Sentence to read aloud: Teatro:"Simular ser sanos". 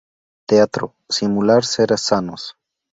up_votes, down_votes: 0, 4